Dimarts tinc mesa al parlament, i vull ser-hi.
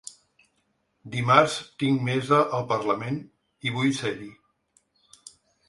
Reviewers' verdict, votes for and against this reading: accepted, 2, 0